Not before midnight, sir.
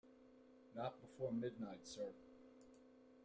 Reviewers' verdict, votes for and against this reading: rejected, 1, 2